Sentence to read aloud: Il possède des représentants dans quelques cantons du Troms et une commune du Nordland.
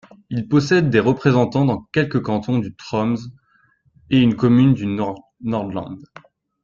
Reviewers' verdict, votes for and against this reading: rejected, 1, 3